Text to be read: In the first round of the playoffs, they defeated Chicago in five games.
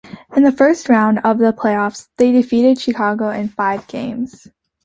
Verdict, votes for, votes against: accepted, 2, 0